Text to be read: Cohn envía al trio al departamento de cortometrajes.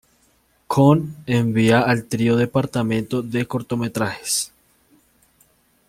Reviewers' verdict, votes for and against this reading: accepted, 2, 1